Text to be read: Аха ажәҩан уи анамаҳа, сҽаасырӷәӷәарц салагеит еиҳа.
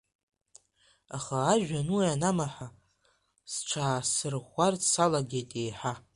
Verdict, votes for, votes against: rejected, 1, 2